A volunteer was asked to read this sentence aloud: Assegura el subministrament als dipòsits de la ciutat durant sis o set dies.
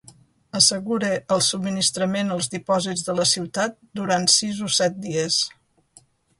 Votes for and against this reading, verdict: 2, 0, accepted